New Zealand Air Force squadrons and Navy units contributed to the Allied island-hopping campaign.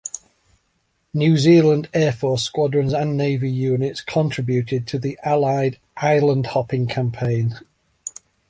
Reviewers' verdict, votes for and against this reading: accepted, 3, 1